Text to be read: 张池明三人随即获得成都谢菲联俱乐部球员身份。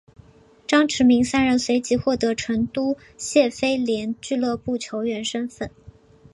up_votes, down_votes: 2, 0